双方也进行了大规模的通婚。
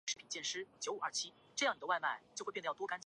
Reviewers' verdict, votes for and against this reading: rejected, 1, 3